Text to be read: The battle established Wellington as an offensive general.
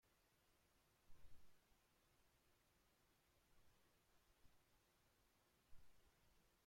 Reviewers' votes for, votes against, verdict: 0, 2, rejected